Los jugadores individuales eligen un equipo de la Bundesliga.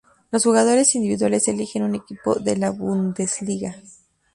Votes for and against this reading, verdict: 2, 2, rejected